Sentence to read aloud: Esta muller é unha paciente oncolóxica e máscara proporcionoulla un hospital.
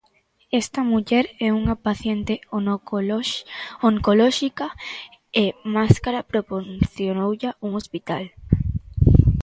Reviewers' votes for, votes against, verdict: 0, 2, rejected